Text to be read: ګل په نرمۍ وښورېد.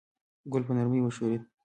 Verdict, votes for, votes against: accepted, 3, 0